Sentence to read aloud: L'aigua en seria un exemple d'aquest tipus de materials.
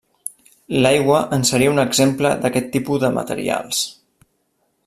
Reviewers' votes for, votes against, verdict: 0, 2, rejected